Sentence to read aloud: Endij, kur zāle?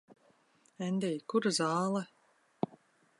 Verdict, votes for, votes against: accepted, 2, 1